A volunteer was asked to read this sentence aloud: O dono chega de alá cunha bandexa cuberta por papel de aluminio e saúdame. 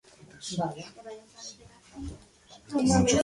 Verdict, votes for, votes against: rejected, 0, 2